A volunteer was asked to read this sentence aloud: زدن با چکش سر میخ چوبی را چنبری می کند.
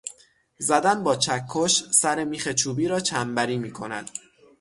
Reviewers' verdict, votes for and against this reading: rejected, 3, 3